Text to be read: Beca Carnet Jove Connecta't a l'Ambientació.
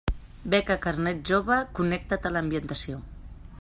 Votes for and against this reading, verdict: 2, 0, accepted